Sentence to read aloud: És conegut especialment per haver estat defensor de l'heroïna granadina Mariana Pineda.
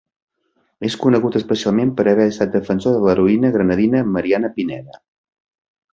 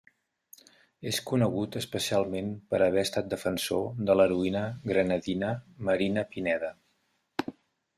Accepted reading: first